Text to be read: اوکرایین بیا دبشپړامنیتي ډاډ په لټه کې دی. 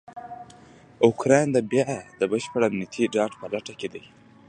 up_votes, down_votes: 2, 0